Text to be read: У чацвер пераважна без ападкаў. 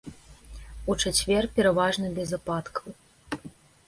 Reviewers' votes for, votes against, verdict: 2, 0, accepted